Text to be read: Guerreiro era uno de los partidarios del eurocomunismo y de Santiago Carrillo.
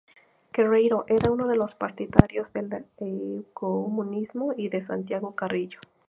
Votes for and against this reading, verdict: 0, 2, rejected